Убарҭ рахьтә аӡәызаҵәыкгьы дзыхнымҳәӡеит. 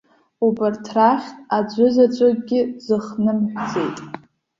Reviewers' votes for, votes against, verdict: 1, 2, rejected